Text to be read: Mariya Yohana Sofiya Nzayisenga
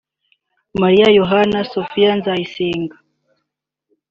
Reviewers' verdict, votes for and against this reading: accepted, 2, 1